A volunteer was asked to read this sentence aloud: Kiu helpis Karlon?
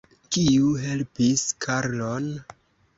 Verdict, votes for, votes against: accepted, 2, 0